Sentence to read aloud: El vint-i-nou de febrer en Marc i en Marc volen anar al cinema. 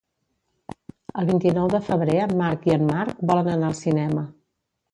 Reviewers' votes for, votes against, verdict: 1, 2, rejected